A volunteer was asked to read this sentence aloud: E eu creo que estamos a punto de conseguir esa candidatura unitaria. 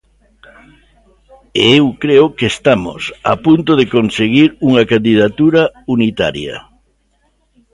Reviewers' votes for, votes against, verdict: 0, 2, rejected